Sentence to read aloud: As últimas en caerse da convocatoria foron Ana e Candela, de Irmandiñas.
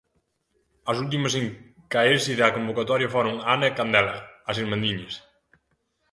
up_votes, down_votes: 0, 2